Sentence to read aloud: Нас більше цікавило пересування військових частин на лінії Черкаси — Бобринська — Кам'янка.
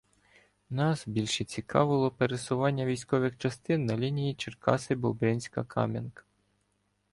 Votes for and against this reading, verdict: 0, 2, rejected